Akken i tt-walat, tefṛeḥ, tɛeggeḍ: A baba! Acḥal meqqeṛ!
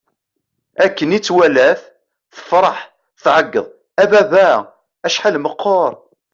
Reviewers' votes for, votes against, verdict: 2, 0, accepted